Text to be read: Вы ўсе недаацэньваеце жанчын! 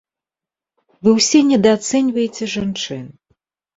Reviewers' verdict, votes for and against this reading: accepted, 2, 0